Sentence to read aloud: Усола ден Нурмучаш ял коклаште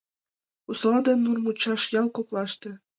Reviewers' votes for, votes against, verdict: 2, 0, accepted